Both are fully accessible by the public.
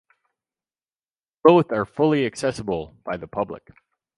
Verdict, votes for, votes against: accepted, 4, 0